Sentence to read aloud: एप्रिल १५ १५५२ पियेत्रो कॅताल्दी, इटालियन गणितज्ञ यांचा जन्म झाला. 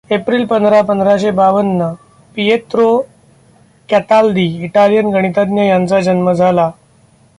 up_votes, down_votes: 0, 2